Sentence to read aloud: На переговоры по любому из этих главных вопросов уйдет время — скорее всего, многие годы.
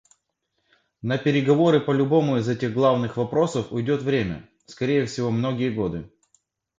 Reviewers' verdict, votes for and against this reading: accepted, 2, 0